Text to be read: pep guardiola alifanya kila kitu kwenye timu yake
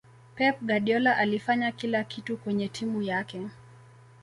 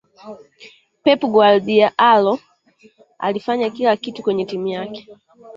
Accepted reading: first